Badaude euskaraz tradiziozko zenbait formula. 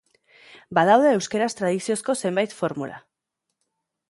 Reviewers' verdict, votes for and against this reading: rejected, 0, 2